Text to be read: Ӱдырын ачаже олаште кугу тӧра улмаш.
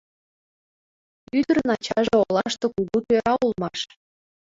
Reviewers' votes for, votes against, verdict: 2, 0, accepted